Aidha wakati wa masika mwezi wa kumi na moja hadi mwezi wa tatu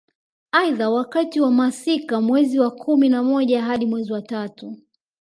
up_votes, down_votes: 3, 0